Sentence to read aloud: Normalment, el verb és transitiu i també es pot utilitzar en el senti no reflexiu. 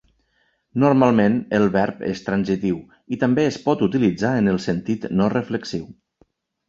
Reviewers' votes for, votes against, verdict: 2, 0, accepted